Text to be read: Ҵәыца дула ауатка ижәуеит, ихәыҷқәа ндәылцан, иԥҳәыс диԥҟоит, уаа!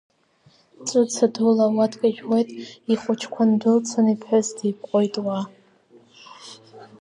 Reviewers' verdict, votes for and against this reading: accepted, 2, 1